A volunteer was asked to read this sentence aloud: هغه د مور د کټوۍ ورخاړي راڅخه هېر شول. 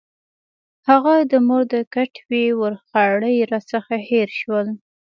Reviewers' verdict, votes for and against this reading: accepted, 2, 0